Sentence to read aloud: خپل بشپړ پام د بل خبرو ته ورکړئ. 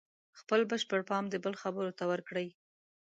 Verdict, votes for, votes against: accepted, 2, 0